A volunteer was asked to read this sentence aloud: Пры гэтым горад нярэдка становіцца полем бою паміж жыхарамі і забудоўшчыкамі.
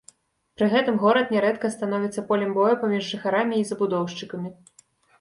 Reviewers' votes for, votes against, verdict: 2, 0, accepted